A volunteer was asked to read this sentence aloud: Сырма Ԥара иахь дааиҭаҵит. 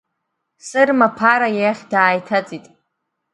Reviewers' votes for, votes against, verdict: 3, 0, accepted